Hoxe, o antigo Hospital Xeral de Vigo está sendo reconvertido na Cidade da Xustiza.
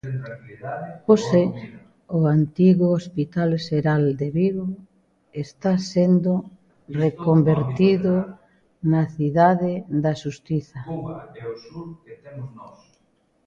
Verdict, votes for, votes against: rejected, 1, 2